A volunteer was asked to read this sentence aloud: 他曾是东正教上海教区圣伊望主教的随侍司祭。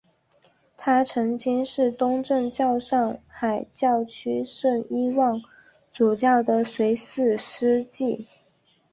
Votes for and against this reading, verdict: 2, 0, accepted